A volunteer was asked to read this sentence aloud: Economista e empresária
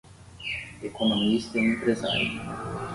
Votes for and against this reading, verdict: 5, 10, rejected